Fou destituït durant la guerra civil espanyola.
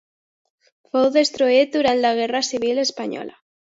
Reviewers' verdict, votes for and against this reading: rejected, 0, 2